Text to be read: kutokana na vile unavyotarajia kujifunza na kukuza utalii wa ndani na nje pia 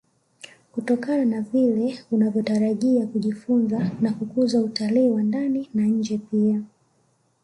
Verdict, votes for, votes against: rejected, 1, 2